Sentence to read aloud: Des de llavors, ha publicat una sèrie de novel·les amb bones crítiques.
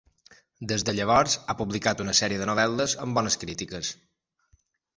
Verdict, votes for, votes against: accepted, 2, 0